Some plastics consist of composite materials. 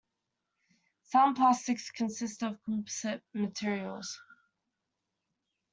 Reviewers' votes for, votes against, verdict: 2, 0, accepted